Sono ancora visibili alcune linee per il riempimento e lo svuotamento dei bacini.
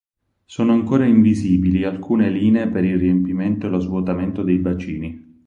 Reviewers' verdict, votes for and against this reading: rejected, 4, 6